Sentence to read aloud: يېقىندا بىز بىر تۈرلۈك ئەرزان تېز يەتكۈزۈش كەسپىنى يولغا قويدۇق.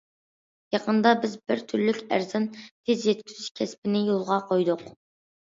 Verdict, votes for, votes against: accepted, 2, 0